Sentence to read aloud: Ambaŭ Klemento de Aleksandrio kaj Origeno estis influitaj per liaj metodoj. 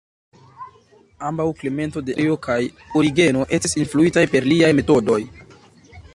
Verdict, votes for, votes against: rejected, 1, 2